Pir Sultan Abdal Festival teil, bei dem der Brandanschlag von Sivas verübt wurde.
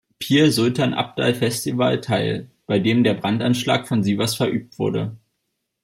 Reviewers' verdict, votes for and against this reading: accepted, 2, 0